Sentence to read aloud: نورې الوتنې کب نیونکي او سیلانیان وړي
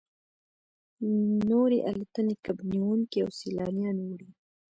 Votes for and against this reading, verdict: 1, 2, rejected